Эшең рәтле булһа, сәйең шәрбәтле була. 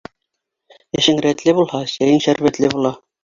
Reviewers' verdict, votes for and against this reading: accepted, 4, 0